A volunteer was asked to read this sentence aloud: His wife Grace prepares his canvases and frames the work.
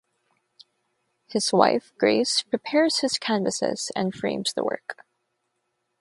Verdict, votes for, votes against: accepted, 6, 0